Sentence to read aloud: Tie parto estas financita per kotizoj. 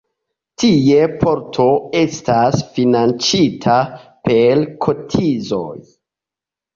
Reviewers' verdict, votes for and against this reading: accepted, 2, 0